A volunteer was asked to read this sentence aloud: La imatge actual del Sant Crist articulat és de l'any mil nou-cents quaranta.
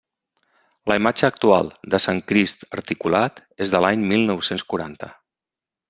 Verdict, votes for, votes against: rejected, 0, 3